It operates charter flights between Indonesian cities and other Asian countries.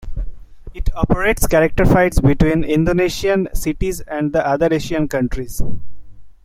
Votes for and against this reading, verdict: 1, 2, rejected